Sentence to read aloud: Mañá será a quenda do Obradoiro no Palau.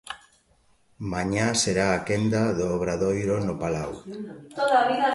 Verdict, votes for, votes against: rejected, 1, 2